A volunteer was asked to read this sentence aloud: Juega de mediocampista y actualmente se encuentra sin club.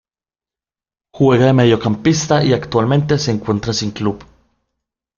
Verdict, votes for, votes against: rejected, 0, 2